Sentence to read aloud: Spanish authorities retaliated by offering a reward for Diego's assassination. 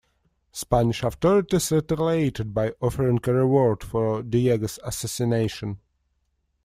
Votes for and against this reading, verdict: 1, 2, rejected